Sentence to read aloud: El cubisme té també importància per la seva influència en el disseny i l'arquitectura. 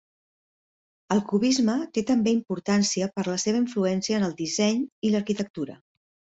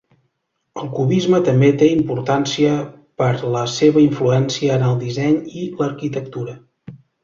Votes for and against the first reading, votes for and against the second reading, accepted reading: 3, 0, 1, 2, first